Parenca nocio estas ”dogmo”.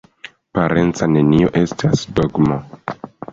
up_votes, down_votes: 2, 1